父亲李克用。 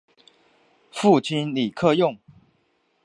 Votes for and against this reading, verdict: 3, 0, accepted